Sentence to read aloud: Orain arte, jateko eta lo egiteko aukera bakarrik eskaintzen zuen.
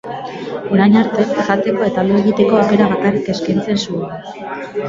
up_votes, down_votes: 2, 0